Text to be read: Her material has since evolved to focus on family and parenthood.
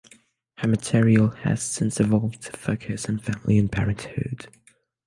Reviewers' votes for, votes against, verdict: 3, 0, accepted